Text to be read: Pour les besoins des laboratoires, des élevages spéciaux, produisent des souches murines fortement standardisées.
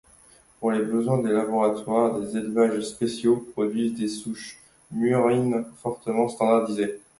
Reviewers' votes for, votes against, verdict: 2, 0, accepted